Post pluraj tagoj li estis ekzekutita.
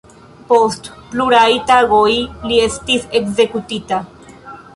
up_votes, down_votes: 2, 0